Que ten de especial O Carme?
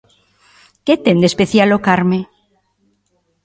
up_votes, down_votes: 2, 0